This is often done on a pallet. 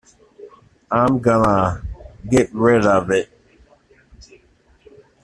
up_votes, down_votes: 0, 2